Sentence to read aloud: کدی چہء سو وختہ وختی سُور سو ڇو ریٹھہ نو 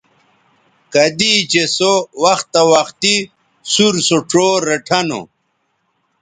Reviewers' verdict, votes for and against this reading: accepted, 2, 0